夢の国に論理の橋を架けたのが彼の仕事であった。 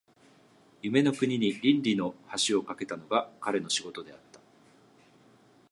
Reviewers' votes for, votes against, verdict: 2, 1, accepted